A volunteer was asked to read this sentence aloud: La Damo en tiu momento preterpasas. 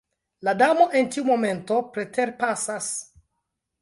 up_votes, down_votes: 2, 0